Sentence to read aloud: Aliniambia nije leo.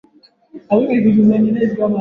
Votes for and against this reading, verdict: 1, 2, rejected